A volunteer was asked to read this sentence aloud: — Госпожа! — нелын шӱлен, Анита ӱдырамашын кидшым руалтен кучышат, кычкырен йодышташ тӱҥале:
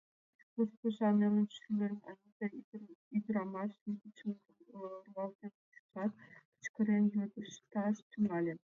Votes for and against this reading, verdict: 0, 2, rejected